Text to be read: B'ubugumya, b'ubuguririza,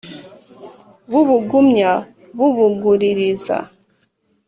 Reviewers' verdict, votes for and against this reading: accepted, 2, 0